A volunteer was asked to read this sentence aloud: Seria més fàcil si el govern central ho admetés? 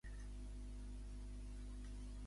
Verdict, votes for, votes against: rejected, 0, 2